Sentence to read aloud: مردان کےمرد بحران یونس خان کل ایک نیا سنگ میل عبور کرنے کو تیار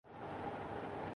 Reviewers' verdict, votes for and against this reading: rejected, 2, 3